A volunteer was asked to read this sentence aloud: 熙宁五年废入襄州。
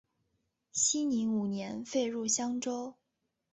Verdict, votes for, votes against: accepted, 4, 0